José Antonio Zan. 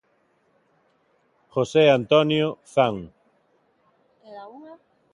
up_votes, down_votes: 2, 0